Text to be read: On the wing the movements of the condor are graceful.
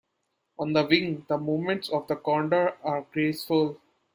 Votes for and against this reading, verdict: 2, 1, accepted